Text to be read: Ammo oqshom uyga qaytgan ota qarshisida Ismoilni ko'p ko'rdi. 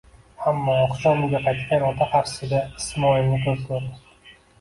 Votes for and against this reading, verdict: 2, 1, accepted